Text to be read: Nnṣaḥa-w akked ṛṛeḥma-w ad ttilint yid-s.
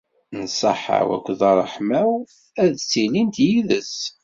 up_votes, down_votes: 2, 0